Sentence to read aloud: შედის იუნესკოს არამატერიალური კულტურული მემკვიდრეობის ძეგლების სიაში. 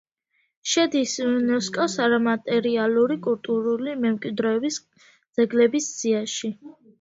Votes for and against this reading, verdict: 2, 0, accepted